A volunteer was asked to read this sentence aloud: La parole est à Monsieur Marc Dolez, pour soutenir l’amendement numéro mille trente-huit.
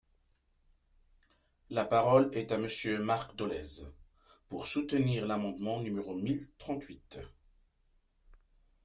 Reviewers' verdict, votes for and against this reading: rejected, 1, 2